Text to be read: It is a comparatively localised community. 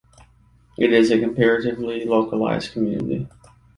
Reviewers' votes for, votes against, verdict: 2, 0, accepted